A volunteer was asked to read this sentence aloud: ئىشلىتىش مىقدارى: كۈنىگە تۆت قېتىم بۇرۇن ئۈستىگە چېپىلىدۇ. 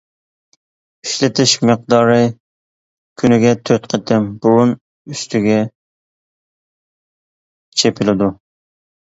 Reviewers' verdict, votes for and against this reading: accepted, 2, 0